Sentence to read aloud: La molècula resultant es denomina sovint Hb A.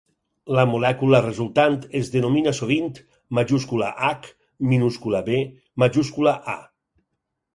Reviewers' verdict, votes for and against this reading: rejected, 0, 4